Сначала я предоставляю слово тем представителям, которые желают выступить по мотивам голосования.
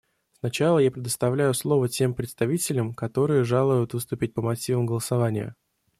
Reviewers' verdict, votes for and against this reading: rejected, 0, 2